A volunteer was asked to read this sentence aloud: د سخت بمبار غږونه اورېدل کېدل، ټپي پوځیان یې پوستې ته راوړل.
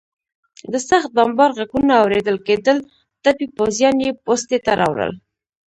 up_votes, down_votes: 1, 2